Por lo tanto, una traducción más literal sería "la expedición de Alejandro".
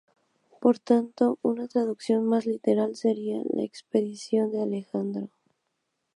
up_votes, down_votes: 0, 2